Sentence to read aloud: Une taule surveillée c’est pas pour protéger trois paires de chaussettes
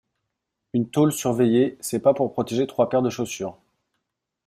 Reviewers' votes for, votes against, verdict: 0, 2, rejected